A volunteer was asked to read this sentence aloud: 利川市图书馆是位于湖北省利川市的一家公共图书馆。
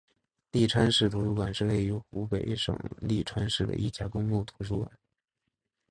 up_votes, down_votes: 2, 1